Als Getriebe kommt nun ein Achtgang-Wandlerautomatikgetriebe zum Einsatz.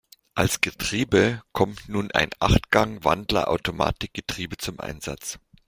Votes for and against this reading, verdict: 2, 0, accepted